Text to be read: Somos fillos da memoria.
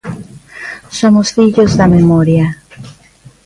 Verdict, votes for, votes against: accepted, 2, 0